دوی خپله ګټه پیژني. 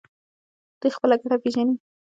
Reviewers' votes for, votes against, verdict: 2, 0, accepted